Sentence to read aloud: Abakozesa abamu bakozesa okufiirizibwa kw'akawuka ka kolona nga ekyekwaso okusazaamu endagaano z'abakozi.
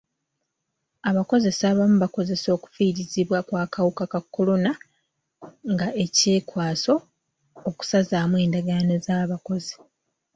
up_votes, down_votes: 2, 0